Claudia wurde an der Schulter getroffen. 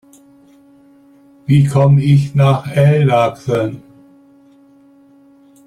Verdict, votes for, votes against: rejected, 0, 2